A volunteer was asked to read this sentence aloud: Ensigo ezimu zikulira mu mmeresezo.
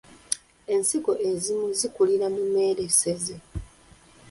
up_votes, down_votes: 1, 2